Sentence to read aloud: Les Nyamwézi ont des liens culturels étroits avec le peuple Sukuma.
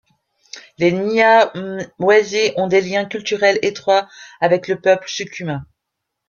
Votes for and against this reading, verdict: 1, 2, rejected